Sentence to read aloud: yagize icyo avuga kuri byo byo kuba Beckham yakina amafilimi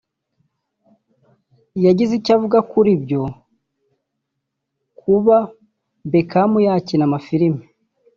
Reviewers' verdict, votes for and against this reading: rejected, 0, 2